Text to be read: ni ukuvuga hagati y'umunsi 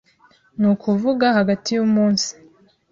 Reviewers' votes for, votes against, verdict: 2, 0, accepted